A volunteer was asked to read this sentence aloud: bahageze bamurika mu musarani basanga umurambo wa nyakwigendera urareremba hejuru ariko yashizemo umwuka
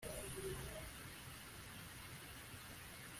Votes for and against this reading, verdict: 0, 2, rejected